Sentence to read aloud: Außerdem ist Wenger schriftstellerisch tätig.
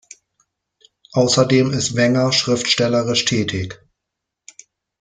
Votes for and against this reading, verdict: 2, 0, accepted